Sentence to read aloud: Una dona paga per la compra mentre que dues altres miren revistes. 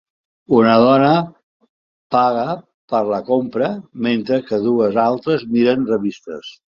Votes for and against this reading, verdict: 3, 0, accepted